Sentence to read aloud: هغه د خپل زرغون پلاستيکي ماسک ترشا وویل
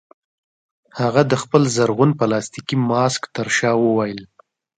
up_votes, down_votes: 2, 1